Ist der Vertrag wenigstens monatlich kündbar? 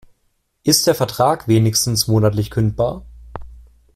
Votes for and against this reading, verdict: 2, 0, accepted